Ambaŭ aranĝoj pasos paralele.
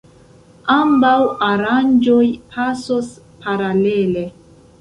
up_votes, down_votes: 0, 2